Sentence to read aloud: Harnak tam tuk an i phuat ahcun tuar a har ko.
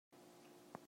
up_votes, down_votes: 0, 2